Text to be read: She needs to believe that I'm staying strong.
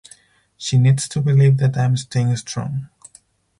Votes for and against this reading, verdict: 4, 0, accepted